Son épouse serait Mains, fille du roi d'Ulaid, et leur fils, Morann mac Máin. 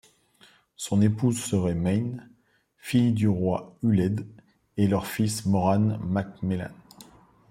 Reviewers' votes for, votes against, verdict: 0, 2, rejected